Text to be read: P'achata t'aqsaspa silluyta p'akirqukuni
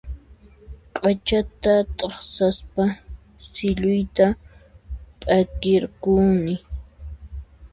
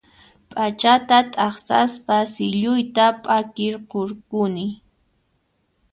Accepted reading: first